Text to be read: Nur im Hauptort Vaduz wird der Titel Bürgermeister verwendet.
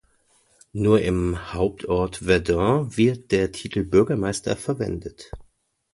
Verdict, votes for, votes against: rejected, 1, 2